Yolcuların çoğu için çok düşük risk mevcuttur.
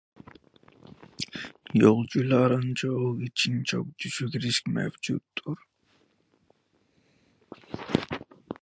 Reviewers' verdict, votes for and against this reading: rejected, 1, 2